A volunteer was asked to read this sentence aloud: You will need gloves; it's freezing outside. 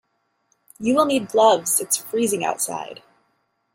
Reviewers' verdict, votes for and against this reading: accepted, 2, 0